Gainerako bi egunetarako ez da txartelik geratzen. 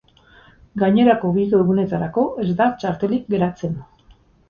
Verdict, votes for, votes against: rejected, 2, 2